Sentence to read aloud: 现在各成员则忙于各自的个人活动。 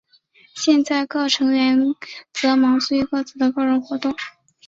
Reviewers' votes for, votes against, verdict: 4, 1, accepted